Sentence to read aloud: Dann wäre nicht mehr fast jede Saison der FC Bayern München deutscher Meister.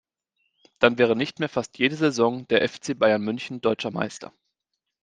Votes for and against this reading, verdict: 2, 0, accepted